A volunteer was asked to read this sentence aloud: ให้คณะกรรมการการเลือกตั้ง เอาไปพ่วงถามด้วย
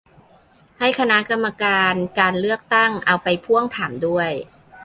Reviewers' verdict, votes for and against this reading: accepted, 2, 0